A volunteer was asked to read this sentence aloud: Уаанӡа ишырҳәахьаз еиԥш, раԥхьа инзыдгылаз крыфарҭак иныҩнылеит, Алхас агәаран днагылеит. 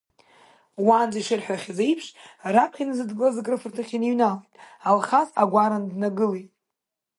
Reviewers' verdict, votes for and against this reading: rejected, 0, 2